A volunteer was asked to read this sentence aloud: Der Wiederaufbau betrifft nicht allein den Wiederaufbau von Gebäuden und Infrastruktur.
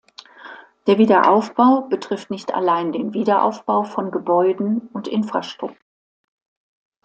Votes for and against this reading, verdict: 1, 2, rejected